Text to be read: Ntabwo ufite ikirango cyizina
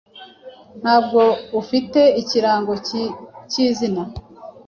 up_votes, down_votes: 1, 2